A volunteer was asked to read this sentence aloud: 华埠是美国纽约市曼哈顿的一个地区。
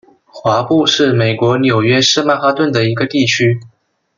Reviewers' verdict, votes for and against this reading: accepted, 2, 0